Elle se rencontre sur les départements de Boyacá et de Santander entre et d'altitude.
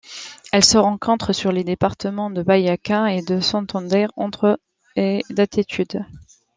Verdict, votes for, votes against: rejected, 1, 2